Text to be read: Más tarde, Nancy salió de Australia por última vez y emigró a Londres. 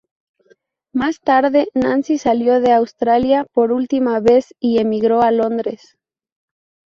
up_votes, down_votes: 0, 2